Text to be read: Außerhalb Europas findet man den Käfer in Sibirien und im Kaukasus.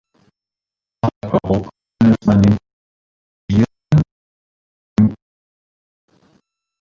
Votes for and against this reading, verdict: 0, 2, rejected